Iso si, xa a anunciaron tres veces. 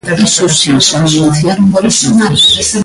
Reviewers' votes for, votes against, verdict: 0, 2, rejected